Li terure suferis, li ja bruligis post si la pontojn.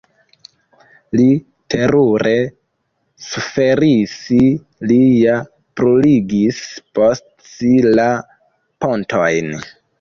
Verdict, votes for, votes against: rejected, 0, 2